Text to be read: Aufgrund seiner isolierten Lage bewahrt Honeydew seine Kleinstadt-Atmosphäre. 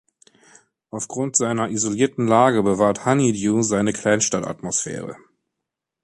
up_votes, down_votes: 2, 0